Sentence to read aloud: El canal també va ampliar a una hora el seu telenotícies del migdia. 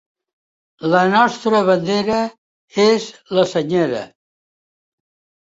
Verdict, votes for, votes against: rejected, 0, 2